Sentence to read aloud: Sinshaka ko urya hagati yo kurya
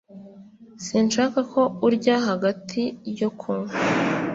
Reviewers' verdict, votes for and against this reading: rejected, 1, 2